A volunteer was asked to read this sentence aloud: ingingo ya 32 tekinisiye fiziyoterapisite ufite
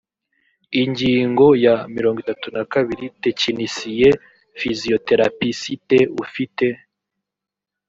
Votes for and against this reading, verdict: 0, 2, rejected